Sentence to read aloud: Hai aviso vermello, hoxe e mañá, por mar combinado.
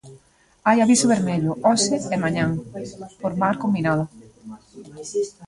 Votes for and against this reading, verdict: 2, 1, accepted